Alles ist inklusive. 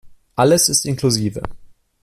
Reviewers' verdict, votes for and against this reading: accepted, 2, 0